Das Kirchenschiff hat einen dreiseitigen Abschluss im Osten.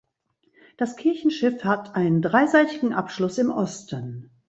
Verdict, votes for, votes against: accepted, 2, 0